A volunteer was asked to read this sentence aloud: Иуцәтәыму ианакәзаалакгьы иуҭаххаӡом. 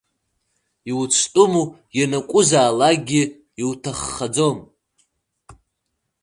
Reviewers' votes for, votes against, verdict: 2, 1, accepted